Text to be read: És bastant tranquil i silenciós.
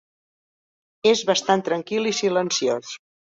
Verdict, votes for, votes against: accepted, 3, 0